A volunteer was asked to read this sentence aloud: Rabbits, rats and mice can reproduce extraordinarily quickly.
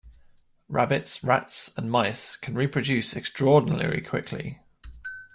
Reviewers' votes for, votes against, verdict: 2, 0, accepted